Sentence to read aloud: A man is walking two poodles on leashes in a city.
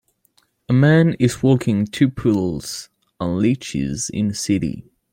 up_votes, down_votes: 0, 2